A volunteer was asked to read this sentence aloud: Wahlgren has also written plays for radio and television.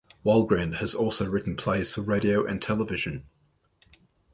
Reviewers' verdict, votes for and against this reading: accepted, 2, 0